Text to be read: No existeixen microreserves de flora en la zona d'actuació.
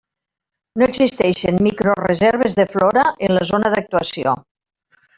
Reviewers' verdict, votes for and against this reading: accepted, 3, 0